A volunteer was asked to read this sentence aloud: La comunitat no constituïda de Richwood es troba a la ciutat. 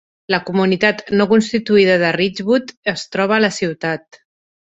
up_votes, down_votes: 2, 0